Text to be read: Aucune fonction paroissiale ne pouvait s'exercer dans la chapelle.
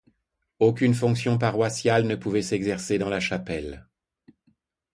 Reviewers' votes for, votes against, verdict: 2, 0, accepted